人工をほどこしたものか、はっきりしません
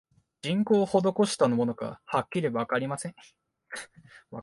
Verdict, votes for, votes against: rejected, 3, 6